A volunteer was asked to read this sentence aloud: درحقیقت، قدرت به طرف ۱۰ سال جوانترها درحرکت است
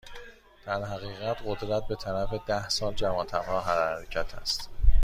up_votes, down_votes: 0, 2